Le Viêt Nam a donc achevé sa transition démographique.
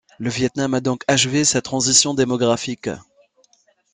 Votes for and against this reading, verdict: 2, 1, accepted